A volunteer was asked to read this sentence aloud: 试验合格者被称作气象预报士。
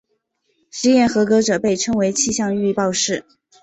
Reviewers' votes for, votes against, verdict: 2, 0, accepted